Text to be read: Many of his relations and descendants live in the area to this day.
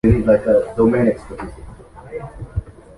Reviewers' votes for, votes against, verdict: 1, 2, rejected